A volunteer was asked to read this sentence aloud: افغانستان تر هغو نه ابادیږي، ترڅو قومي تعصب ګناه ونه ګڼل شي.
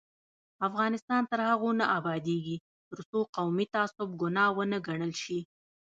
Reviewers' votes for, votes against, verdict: 0, 2, rejected